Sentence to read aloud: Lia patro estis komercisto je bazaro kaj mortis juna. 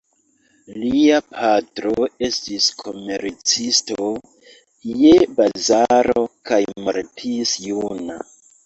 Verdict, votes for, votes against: rejected, 1, 2